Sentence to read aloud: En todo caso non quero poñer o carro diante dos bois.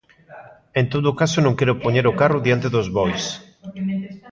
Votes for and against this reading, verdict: 0, 2, rejected